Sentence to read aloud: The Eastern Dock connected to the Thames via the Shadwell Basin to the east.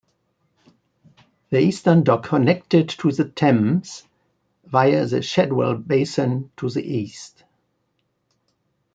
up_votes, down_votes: 2, 1